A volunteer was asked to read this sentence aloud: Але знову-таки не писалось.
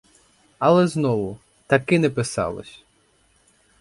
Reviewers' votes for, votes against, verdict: 0, 4, rejected